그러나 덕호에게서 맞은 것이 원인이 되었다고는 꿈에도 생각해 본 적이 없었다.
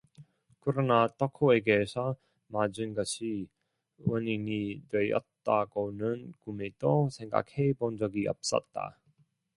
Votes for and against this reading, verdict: 0, 2, rejected